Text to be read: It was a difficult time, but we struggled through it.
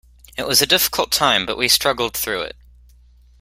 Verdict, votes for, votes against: accepted, 2, 0